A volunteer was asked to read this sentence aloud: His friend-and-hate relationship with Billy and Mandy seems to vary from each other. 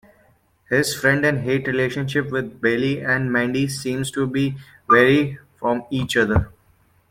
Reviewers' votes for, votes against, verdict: 1, 2, rejected